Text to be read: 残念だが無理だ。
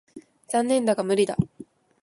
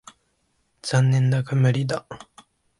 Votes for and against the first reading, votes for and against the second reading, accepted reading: 0, 2, 4, 1, second